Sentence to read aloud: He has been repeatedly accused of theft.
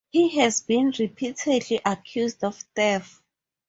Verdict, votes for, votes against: rejected, 2, 4